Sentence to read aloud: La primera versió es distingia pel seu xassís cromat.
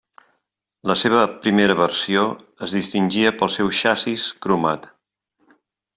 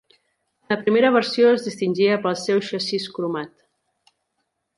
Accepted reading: second